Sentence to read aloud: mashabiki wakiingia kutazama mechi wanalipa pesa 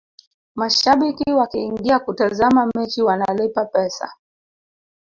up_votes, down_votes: 2, 0